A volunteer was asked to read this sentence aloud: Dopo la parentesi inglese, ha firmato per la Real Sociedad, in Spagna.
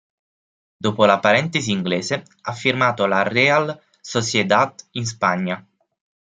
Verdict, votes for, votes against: rejected, 0, 6